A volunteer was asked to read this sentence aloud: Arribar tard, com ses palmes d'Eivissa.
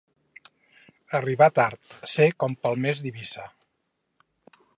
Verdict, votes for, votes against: rejected, 2, 4